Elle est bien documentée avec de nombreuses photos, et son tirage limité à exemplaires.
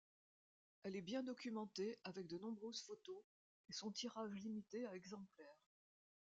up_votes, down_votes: 2, 1